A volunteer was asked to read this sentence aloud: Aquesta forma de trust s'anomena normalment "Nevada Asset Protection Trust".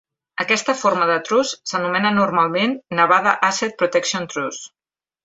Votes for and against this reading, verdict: 2, 0, accepted